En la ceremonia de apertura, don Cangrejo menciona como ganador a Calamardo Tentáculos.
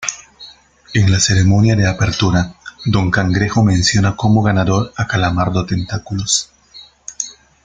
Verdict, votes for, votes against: accepted, 2, 1